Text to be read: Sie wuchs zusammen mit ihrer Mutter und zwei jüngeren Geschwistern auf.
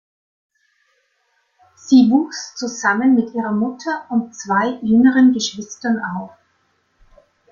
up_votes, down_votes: 2, 0